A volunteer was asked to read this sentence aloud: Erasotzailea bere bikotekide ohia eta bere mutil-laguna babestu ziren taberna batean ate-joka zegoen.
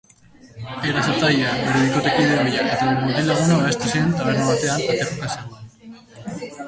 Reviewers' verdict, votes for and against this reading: rejected, 1, 2